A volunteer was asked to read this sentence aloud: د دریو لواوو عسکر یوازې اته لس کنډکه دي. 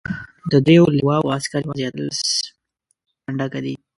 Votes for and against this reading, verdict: 1, 2, rejected